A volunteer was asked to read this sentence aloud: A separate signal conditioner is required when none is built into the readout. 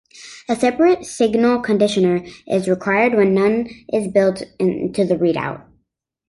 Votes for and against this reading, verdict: 3, 0, accepted